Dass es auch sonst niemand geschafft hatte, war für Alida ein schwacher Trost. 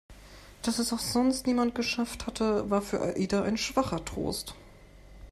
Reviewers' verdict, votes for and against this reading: rejected, 0, 2